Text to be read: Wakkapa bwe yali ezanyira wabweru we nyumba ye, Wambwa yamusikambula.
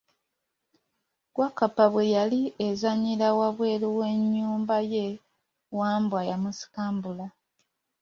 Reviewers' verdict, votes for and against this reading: accepted, 2, 0